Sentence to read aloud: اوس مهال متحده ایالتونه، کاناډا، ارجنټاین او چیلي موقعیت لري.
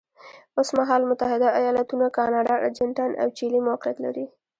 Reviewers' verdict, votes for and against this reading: accepted, 2, 0